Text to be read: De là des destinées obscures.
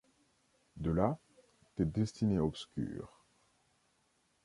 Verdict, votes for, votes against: accepted, 2, 0